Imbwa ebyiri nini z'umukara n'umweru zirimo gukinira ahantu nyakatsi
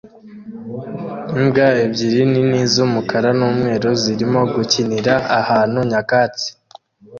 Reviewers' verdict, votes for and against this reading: accepted, 2, 0